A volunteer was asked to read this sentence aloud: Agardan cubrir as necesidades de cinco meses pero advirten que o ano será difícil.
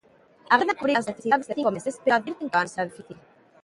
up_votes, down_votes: 0, 2